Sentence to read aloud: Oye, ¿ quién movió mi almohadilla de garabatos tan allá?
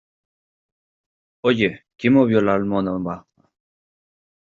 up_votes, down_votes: 0, 2